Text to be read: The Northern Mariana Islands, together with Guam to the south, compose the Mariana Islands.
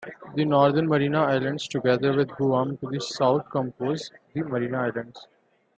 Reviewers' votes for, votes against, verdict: 2, 1, accepted